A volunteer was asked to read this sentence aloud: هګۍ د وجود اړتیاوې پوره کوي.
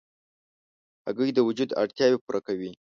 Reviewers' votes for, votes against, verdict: 2, 0, accepted